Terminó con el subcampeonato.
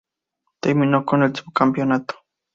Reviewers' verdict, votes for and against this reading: accepted, 2, 0